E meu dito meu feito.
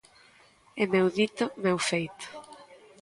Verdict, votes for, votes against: rejected, 1, 2